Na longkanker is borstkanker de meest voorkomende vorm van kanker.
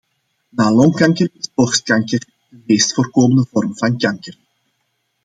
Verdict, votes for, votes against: accepted, 2, 1